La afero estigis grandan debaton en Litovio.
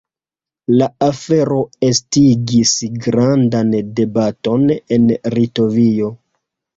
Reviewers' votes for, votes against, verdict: 0, 2, rejected